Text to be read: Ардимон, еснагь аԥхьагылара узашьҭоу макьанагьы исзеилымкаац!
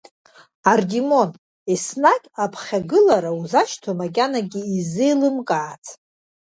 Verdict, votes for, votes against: rejected, 1, 2